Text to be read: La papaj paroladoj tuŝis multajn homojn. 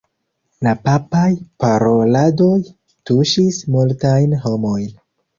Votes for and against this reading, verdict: 0, 2, rejected